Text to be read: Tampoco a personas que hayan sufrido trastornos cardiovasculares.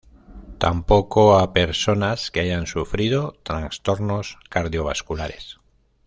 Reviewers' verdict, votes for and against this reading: accepted, 2, 0